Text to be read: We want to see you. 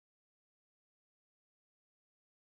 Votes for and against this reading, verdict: 0, 2, rejected